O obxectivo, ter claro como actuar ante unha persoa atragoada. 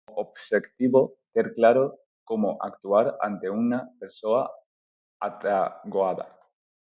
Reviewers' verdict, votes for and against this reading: rejected, 2, 2